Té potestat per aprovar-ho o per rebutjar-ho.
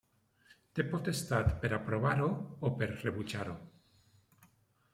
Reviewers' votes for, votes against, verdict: 2, 0, accepted